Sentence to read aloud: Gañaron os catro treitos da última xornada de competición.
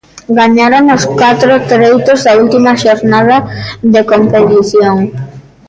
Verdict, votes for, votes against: rejected, 0, 2